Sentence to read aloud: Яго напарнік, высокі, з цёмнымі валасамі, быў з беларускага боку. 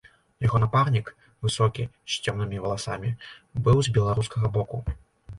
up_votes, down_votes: 2, 0